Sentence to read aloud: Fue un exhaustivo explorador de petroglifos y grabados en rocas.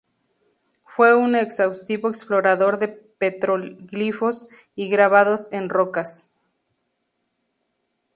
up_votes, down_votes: 2, 2